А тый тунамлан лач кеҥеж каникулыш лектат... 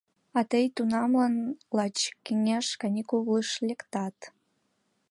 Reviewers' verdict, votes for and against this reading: accepted, 2, 0